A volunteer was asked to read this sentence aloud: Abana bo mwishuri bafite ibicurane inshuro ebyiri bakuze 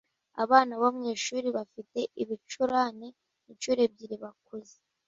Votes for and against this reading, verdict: 2, 0, accepted